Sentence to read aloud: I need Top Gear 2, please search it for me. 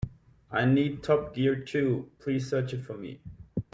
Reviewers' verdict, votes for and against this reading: rejected, 0, 2